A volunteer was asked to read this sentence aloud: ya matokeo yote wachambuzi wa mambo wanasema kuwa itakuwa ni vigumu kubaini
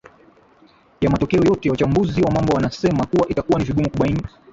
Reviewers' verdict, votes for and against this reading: rejected, 6, 6